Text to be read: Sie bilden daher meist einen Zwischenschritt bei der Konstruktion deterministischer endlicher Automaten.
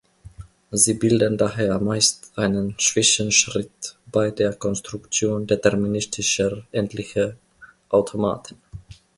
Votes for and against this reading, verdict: 0, 2, rejected